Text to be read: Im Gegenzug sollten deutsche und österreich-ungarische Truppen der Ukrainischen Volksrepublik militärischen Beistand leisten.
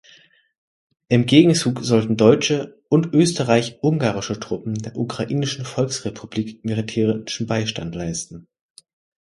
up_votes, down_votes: 2, 0